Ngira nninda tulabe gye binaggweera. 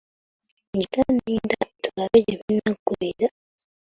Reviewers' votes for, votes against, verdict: 1, 2, rejected